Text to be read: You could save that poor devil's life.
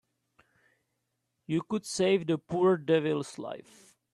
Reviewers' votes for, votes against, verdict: 2, 3, rejected